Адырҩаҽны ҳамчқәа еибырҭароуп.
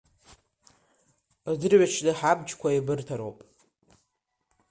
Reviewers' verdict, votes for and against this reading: rejected, 2, 3